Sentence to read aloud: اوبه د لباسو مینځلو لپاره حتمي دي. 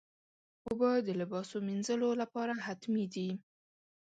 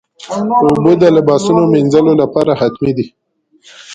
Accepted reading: first